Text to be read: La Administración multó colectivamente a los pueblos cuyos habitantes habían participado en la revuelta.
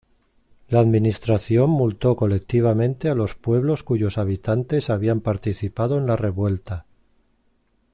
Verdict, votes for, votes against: accepted, 2, 0